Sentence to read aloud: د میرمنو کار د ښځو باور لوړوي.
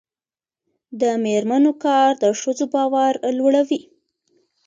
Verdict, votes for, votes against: accepted, 2, 0